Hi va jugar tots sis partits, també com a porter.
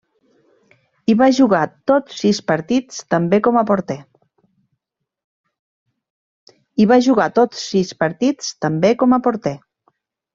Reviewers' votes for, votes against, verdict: 0, 2, rejected